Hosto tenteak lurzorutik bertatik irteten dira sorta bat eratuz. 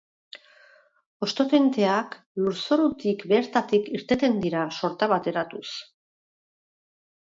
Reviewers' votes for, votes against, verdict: 10, 0, accepted